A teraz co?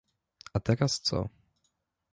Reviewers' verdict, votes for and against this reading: accepted, 2, 0